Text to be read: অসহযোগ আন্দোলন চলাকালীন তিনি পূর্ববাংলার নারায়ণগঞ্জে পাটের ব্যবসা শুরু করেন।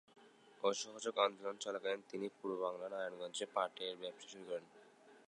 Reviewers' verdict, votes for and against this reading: rejected, 0, 2